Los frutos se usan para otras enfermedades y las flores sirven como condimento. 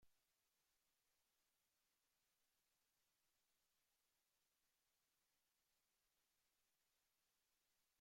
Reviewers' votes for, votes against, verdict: 0, 2, rejected